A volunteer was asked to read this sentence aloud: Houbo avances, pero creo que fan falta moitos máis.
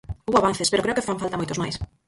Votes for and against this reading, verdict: 0, 4, rejected